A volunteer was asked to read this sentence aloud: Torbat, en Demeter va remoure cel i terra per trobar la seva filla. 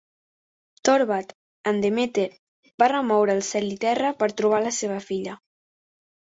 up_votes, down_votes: 0, 2